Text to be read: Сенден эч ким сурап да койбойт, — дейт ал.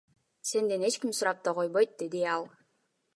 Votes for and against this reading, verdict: 2, 1, accepted